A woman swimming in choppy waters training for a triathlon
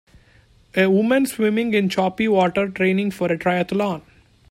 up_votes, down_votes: 1, 2